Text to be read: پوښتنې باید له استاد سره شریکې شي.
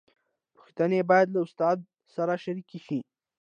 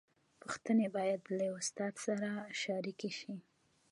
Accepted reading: first